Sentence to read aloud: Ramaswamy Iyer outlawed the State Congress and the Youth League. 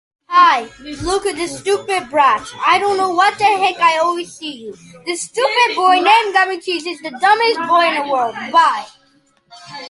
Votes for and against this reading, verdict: 0, 2, rejected